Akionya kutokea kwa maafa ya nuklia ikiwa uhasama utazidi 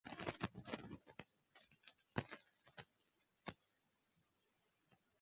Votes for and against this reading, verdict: 0, 2, rejected